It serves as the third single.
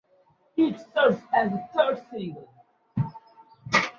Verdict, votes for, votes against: rejected, 1, 2